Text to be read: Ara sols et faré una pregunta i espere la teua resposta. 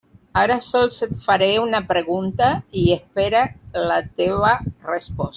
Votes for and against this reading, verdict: 0, 2, rejected